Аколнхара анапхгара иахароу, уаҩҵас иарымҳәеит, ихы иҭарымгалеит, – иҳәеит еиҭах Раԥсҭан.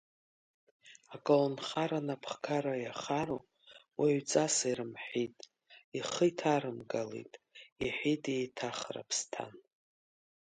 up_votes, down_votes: 2, 0